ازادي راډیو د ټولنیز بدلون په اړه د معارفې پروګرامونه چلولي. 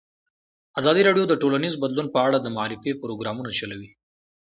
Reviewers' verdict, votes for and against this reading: rejected, 1, 2